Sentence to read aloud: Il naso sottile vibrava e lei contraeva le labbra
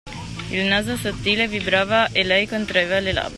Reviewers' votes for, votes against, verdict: 0, 2, rejected